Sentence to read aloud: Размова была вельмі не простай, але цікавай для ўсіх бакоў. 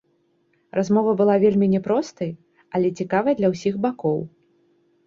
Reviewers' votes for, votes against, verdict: 2, 0, accepted